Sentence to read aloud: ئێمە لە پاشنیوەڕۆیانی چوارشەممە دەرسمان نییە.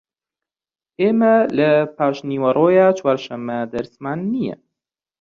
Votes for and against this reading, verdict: 1, 2, rejected